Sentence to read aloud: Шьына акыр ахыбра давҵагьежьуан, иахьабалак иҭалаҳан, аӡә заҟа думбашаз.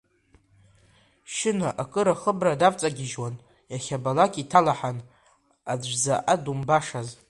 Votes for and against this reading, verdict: 3, 0, accepted